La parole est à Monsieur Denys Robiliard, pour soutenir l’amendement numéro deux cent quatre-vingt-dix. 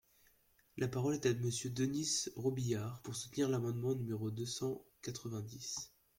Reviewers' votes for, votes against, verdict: 1, 2, rejected